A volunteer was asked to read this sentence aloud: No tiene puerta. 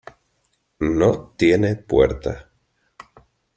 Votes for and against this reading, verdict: 2, 1, accepted